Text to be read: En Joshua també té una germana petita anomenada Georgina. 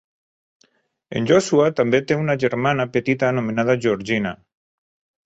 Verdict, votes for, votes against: accepted, 5, 0